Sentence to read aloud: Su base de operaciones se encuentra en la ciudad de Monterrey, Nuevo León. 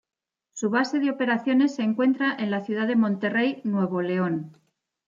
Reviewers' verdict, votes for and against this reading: accepted, 2, 0